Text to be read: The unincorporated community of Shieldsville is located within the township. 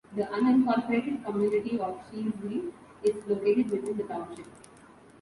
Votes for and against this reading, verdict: 2, 0, accepted